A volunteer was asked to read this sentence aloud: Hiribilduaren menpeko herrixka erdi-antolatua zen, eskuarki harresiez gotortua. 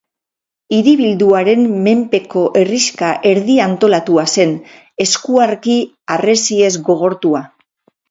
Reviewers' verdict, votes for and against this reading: rejected, 4, 6